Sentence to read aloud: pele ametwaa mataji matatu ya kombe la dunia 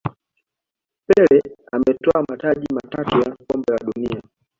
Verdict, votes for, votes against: rejected, 0, 2